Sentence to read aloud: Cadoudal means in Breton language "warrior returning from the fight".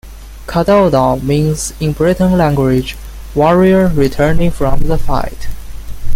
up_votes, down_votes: 2, 0